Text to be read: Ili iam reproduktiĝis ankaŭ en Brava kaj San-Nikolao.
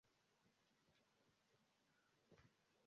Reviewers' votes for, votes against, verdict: 0, 3, rejected